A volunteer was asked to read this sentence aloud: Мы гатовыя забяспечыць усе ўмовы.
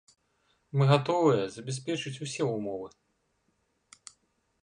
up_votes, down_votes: 2, 0